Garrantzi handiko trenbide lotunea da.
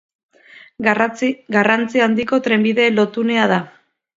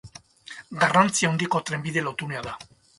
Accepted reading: second